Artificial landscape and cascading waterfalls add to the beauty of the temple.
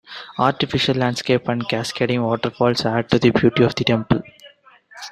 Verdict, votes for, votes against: accepted, 2, 0